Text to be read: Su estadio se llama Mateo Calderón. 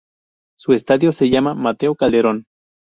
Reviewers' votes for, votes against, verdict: 2, 0, accepted